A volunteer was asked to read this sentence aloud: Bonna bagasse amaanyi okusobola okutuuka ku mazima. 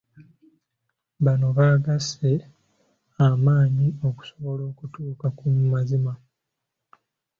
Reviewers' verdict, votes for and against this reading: rejected, 0, 2